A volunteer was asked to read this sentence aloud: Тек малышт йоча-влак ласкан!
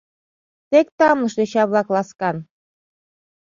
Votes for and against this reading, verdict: 0, 2, rejected